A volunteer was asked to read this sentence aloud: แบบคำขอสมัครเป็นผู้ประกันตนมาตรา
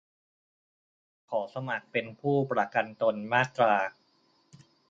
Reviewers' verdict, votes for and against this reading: rejected, 0, 2